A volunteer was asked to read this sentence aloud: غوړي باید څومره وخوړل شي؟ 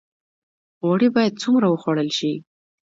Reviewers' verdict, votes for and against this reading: accepted, 2, 0